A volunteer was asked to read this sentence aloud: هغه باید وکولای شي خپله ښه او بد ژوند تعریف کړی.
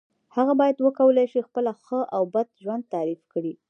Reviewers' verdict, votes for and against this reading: rejected, 1, 2